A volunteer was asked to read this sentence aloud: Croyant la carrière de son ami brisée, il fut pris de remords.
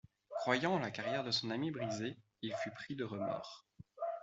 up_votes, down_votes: 2, 1